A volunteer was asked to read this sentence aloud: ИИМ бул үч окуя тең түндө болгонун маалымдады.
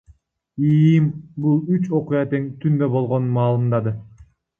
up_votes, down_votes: 0, 2